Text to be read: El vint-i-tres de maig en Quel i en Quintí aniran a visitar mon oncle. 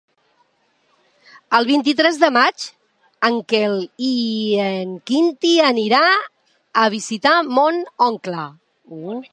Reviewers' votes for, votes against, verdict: 0, 2, rejected